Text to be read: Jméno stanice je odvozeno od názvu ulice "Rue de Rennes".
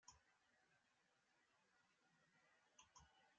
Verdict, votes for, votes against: rejected, 0, 2